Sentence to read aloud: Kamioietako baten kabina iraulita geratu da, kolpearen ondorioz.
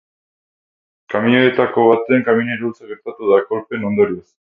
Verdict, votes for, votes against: rejected, 2, 4